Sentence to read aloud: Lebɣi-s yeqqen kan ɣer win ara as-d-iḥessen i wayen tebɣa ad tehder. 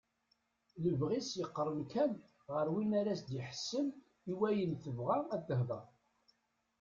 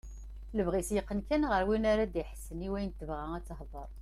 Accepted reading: second